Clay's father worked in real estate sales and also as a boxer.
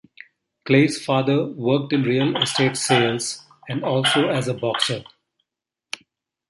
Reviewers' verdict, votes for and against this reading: rejected, 1, 2